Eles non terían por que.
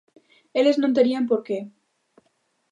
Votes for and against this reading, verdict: 2, 0, accepted